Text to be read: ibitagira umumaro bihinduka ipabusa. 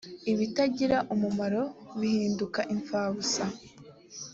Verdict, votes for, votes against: accepted, 2, 0